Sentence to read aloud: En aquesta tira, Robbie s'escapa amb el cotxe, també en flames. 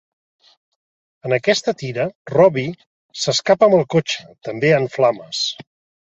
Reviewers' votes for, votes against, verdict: 2, 0, accepted